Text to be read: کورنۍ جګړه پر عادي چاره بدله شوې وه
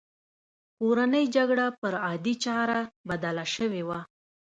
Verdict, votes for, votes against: accepted, 2, 0